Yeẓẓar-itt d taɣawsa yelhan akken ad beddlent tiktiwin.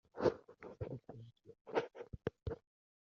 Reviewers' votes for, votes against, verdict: 0, 2, rejected